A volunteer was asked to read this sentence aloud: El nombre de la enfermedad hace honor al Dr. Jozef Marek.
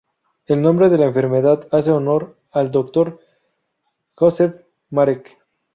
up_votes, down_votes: 0, 2